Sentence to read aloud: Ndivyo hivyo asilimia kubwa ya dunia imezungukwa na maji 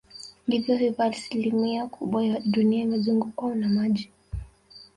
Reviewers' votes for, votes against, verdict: 3, 0, accepted